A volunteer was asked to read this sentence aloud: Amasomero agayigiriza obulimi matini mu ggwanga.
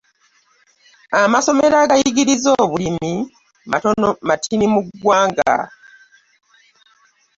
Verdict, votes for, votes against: accepted, 3, 1